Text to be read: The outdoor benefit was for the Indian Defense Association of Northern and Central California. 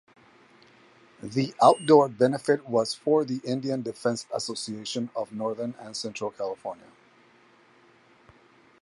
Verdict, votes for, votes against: accepted, 4, 0